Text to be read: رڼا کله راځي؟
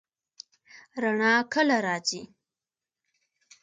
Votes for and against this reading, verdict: 2, 0, accepted